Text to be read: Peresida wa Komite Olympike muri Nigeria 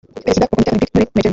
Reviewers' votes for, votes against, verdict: 0, 2, rejected